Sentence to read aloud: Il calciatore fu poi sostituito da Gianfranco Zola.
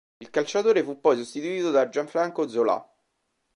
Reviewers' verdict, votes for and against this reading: rejected, 0, 2